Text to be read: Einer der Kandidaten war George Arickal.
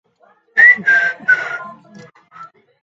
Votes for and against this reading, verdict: 0, 2, rejected